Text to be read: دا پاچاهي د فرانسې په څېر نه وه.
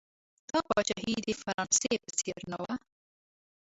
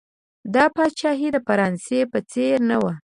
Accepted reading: second